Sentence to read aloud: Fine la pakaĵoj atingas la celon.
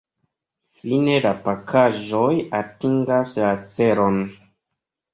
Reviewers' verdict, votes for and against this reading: accepted, 2, 0